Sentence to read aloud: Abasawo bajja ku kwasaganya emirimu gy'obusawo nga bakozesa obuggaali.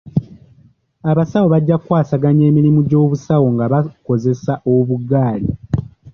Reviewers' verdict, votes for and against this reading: accepted, 2, 0